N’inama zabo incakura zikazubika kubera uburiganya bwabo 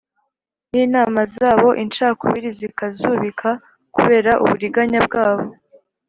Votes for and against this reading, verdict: 1, 2, rejected